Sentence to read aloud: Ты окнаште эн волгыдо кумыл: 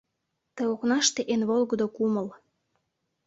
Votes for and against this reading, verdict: 2, 0, accepted